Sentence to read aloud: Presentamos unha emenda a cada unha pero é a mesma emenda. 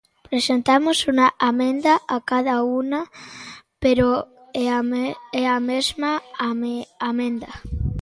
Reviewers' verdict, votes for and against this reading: rejected, 0, 2